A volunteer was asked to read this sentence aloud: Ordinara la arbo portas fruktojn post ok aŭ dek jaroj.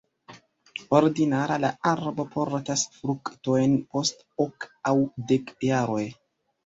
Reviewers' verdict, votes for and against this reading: accepted, 2, 1